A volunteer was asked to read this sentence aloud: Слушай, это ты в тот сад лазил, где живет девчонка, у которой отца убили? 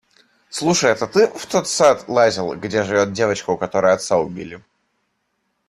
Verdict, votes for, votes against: rejected, 1, 2